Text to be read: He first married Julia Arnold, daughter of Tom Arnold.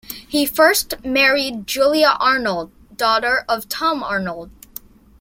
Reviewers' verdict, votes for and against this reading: accepted, 2, 0